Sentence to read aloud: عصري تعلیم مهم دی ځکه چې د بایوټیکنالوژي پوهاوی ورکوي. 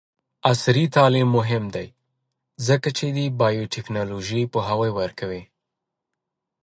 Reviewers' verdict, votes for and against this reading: accepted, 2, 1